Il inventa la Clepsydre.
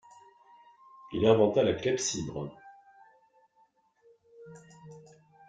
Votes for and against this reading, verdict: 1, 2, rejected